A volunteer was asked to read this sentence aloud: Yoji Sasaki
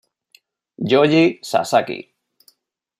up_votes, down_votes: 0, 2